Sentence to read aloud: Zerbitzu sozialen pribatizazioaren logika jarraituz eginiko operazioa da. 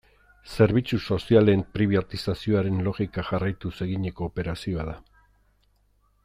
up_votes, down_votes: 0, 2